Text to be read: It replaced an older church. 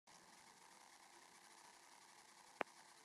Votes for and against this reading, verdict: 0, 2, rejected